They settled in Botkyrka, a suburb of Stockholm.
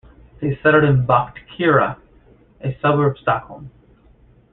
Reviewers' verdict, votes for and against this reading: rejected, 1, 2